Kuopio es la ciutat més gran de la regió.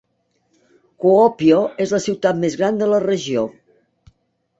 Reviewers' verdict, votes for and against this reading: accepted, 2, 0